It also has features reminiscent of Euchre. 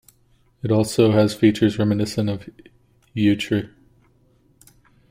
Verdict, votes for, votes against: accepted, 2, 0